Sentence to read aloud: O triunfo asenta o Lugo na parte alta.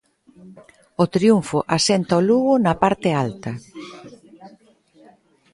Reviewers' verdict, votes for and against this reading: accepted, 3, 0